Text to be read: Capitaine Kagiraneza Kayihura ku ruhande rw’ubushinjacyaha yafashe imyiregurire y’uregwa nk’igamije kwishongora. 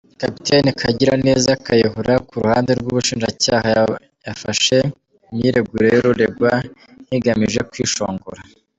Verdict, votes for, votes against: accepted, 2, 1